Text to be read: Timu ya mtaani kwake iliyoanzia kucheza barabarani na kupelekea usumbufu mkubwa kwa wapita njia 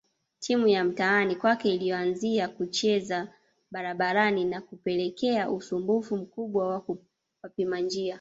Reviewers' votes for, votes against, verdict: 0, 2, rejected